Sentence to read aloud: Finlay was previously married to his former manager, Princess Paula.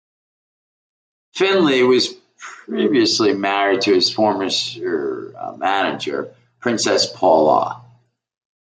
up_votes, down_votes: 0, 2